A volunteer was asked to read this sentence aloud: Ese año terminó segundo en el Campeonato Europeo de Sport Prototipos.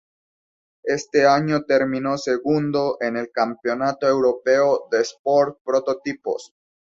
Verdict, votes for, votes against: rejected, 0, 2